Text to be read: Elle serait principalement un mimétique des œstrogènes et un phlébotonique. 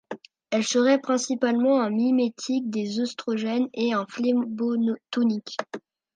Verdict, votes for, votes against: rejected, 1, 2